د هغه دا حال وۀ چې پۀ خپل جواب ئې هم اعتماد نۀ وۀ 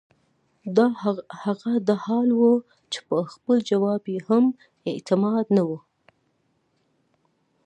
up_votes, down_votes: 1, 2